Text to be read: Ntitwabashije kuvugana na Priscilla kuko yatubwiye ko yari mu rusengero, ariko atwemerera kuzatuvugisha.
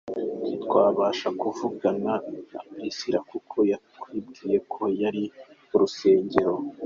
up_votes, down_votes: 0, 3